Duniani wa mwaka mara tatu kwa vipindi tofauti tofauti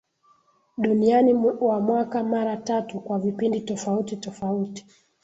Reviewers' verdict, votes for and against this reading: accepted, 2, 1